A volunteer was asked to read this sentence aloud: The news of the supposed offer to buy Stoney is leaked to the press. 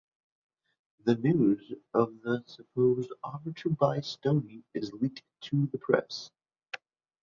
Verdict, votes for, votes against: rejected, 0, 2